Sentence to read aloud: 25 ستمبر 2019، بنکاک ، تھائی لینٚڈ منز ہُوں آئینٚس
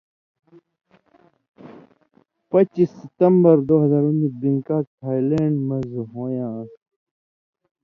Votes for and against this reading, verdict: 0, 2, rejected